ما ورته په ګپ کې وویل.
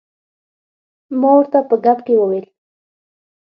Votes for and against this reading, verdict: 6, 0, accepted